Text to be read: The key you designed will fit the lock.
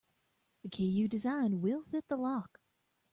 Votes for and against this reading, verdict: 1, 2, rejected